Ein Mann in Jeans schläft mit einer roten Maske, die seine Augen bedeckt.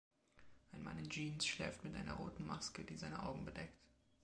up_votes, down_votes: 2, 0